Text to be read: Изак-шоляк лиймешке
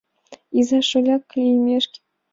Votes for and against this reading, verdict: 2, 0, accepted